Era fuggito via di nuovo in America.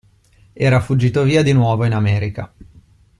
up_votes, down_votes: 2, 0